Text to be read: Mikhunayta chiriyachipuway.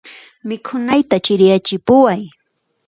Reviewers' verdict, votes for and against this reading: accepted, 2, 0